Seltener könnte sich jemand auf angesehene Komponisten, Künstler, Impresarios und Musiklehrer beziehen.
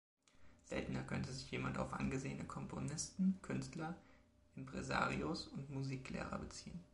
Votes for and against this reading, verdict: 2, 0, accepted